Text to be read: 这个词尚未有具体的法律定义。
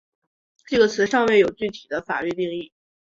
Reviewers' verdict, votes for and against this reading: accepted, 2, 0